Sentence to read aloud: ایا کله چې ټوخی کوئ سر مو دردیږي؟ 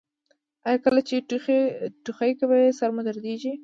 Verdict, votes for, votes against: rejected, 1, 2